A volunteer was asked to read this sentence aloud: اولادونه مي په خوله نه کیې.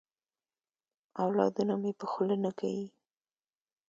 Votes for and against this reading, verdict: 3, 0, accepted